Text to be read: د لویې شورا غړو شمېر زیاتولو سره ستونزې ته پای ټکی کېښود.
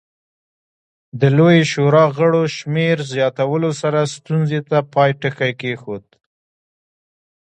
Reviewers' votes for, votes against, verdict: 2, 0, accepted